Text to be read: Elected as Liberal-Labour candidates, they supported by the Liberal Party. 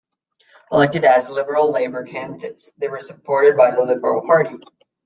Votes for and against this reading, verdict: 0, 2, rejected